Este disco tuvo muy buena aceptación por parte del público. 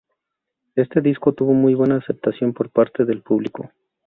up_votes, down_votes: 2, 2